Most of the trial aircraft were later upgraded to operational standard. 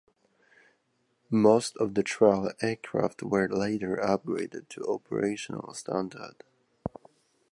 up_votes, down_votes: 2, 1